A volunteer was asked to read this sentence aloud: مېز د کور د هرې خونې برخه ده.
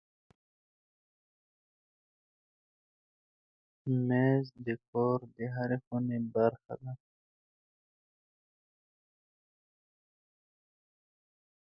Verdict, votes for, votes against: accepted, 2, 0